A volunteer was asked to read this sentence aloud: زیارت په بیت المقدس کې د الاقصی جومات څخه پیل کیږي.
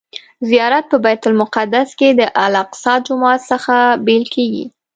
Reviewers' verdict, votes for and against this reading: rejected, 1, 2